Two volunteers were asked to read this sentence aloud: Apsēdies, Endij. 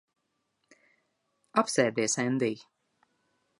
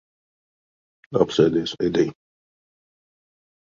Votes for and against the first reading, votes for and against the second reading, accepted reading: 2, 0, 0, 2, first